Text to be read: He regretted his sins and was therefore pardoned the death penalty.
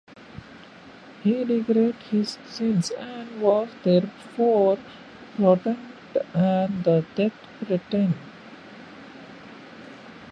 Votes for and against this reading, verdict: 1, 2, rejected